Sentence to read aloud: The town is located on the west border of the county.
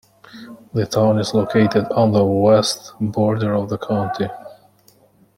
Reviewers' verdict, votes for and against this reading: accepted, 2, 0